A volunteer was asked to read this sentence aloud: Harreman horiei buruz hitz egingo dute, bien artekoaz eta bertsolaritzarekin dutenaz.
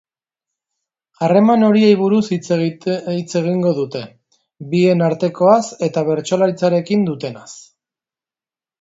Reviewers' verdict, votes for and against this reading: rejected, 1, 2